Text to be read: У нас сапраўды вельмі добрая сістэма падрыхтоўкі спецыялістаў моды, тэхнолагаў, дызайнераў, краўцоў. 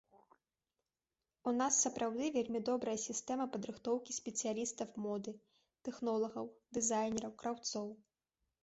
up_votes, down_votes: 2, 0